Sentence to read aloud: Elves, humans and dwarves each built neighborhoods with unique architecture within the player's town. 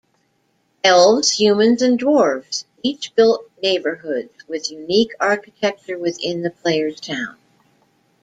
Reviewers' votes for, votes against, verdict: 2, 0, accepted